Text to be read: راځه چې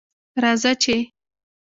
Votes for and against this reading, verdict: 0, 2, rejected